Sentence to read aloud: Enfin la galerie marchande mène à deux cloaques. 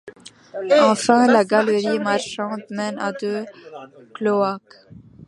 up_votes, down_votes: 1, 2